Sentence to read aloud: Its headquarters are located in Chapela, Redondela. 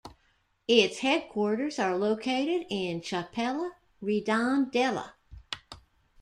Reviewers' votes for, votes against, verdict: 2, 0, accepted